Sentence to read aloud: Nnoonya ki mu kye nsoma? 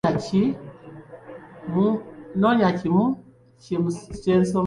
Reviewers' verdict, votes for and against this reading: rejected, 2, 3